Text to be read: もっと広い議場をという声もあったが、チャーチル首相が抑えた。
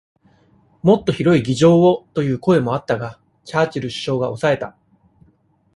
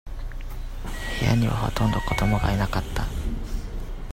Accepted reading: first